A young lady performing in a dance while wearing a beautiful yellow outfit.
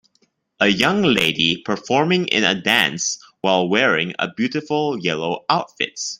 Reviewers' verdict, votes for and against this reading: rejected, 0, 2